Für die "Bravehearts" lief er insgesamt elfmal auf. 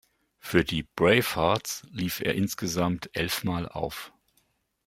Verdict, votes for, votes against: accepted, 2, 0